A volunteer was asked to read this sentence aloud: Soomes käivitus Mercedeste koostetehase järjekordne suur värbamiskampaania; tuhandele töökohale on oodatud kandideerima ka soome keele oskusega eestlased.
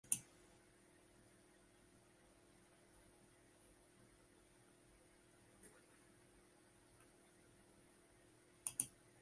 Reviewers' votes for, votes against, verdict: 0, 2, rejected